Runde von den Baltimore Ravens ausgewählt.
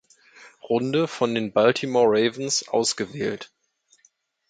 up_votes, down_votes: 2, 0